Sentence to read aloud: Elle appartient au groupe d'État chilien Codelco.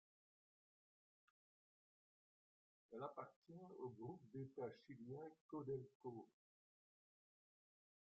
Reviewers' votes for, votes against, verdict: 0, 2, rejected